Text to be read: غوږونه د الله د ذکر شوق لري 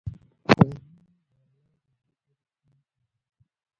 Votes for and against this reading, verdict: 1, 2, rejected